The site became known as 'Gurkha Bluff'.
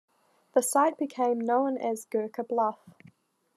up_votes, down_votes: 2, 0